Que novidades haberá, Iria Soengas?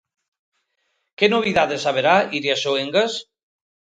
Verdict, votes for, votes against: accepted, 2, 0